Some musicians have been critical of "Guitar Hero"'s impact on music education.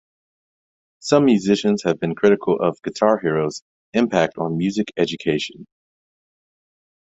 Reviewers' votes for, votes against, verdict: 2, 0, accepted